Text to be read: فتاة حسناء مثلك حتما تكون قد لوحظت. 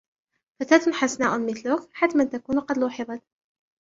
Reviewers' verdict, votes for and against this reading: accepted, 2, 0